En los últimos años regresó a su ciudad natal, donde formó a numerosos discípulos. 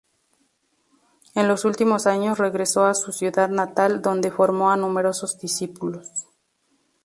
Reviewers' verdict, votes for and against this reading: accepted, 4, 0